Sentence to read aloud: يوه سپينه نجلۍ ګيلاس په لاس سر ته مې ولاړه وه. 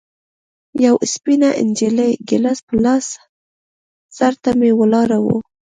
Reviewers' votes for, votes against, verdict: 2, 0, accepted